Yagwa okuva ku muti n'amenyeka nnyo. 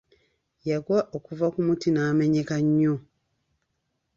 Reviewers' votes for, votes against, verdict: 2, 0, accepted